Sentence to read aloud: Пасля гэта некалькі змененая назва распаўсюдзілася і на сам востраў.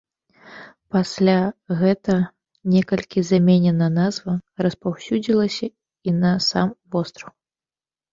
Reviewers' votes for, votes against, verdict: 0, 2, rejected